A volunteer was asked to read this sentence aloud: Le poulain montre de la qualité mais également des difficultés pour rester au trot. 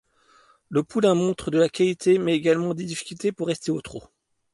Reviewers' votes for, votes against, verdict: 2, 0, accepted